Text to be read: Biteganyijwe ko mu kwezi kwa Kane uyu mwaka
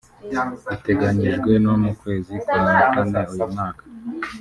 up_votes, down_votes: 0, 2